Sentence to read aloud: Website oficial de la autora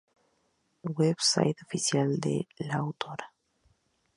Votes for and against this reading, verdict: 2, 0, accepted